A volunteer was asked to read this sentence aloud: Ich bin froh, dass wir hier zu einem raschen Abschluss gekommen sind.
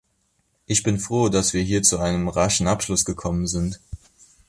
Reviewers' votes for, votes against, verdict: 2, 0, accepted